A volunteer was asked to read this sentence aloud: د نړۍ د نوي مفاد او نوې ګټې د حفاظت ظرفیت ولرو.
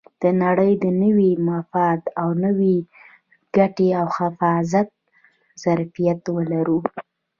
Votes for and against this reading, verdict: 1, 2, rejected